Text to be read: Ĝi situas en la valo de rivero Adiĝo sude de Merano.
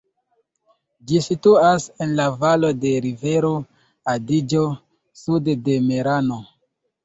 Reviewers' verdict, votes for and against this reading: accepted, 2, 0